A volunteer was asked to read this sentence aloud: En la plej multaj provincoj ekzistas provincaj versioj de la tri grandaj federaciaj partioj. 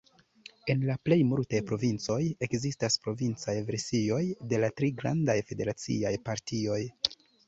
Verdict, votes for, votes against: rejected, 1, 2